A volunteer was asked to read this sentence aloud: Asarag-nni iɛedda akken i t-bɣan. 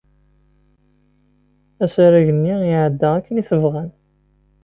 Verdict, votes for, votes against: accepted, 2, 0